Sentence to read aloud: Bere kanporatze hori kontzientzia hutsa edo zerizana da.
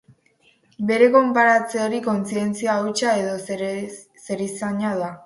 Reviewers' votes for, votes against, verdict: 4, 6, rejected